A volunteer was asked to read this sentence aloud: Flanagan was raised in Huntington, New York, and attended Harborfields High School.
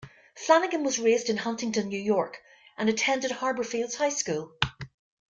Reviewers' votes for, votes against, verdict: 1, 2, rejected